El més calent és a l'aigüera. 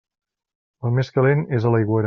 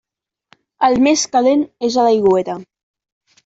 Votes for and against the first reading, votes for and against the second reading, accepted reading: 1, 2, 2, 0, second